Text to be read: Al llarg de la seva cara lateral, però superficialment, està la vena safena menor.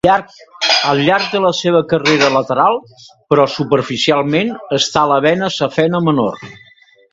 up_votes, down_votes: 0, 3